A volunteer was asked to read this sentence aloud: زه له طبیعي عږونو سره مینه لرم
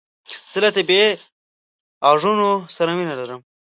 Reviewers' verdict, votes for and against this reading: rejected, 1, 2